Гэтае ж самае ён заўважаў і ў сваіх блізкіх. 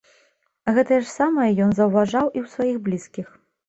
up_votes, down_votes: 2, 0